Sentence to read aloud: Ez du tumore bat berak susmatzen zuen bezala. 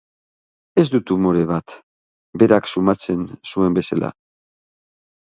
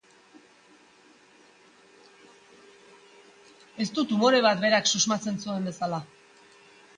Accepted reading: second